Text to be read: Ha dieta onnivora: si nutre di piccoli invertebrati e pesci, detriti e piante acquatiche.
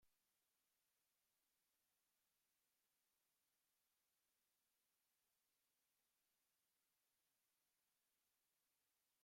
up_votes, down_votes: 0, 2